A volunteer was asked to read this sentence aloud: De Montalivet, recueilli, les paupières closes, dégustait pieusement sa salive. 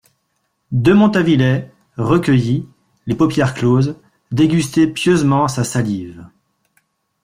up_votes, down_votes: 2, 0